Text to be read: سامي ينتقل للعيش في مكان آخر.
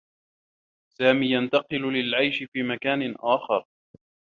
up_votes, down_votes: 1, 2